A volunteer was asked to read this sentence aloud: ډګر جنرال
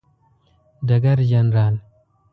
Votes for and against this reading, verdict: 2, 0, accepted